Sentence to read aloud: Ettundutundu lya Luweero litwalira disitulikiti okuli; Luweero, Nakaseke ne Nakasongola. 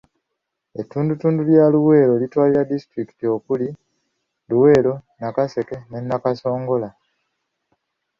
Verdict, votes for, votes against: accepted, 2, 1